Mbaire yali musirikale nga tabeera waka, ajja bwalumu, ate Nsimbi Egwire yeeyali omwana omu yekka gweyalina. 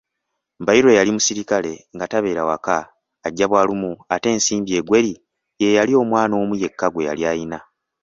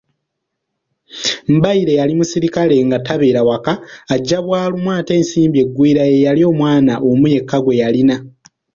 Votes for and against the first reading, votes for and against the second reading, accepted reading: 1, 2, 2, 0, second